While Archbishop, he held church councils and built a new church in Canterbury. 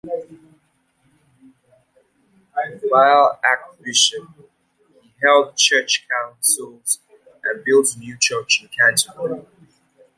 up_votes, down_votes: 0, 2